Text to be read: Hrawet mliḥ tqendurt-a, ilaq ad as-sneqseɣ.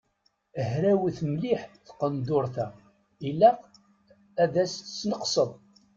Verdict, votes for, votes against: rejected, 1, 2